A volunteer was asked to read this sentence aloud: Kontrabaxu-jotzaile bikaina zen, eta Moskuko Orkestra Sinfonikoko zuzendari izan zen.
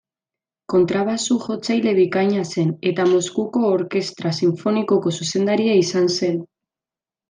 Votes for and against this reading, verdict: 1, 2, rejected